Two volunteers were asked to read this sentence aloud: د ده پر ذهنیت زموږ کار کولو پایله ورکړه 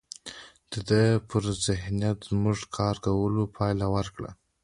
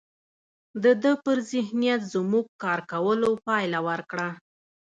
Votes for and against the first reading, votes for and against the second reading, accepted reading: 2, 0, 1, 2, first